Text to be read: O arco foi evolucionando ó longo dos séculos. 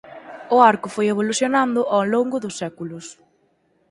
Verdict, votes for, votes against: accepted, 4, 0